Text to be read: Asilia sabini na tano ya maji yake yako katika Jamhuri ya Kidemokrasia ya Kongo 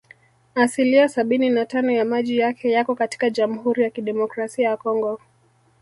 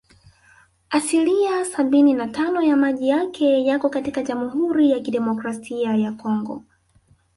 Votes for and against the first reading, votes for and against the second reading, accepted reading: 1, 2, 2, 1, second